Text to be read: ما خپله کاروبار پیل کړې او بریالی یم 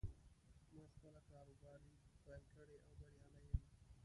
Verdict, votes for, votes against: rejected, 1, 2